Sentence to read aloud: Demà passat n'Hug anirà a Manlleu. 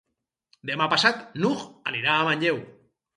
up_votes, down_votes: 4, 0